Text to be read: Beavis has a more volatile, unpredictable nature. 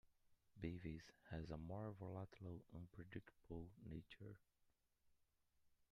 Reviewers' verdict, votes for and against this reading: rejected, 1, 2